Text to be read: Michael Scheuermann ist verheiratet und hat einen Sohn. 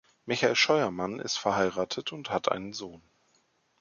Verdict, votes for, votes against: accepted, 2, 0